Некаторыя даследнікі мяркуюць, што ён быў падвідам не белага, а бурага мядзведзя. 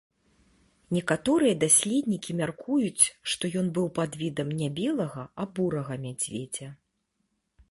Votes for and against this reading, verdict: 2, 0, accepted